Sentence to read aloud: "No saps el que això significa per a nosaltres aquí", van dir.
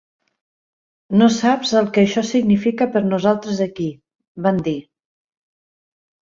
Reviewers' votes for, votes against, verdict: 3, 1, accepted